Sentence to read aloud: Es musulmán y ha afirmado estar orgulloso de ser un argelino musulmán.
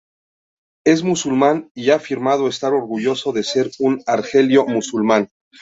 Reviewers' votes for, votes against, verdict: 0, 2, rejected